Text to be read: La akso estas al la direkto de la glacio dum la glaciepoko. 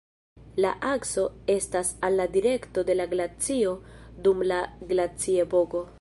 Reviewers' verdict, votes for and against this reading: accepted, 2, 0